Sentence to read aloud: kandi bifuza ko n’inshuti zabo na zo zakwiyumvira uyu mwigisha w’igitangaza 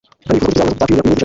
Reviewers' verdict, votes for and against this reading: rejected, 0, 2